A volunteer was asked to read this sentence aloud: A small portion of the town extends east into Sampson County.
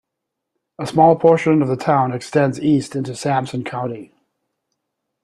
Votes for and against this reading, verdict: 1, 2, rejected